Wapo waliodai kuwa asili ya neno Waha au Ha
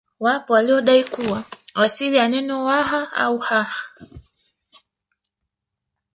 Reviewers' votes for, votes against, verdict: 3, 1, accepted